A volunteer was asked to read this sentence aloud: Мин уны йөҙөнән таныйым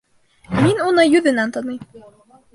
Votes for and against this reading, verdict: 1, 2, rejected